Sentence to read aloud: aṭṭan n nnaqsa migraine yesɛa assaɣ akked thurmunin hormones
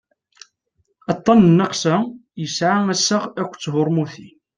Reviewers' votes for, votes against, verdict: 2, 0, accepted